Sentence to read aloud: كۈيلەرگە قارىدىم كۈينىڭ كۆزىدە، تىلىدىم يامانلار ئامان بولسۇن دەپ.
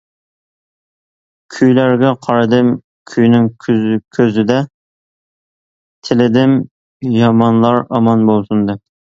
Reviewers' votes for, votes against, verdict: 0, 2, rejected